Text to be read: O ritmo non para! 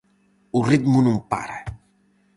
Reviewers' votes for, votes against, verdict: 4, 0, accepted